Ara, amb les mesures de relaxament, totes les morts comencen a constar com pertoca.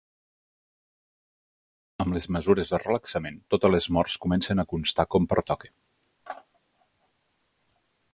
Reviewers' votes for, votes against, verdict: 0, 2, rejected